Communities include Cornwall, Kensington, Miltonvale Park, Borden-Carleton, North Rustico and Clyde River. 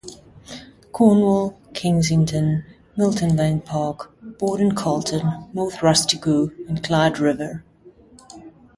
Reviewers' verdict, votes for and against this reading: rejected, 0, 2